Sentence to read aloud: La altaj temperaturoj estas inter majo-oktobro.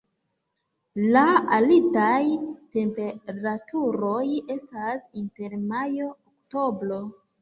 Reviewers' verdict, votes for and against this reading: rejected, 0, 2